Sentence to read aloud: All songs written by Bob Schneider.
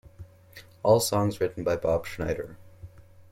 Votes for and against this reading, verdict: 2, 0, accepted